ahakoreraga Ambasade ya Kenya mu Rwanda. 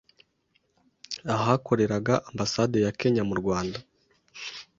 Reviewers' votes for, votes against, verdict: 2, 0, accepted